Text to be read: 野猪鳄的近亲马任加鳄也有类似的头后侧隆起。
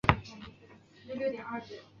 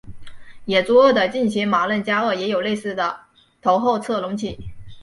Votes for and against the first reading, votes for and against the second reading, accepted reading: 1, 2, 3, 1, second